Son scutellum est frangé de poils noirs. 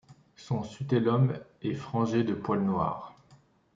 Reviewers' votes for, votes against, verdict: 2, 3, rejected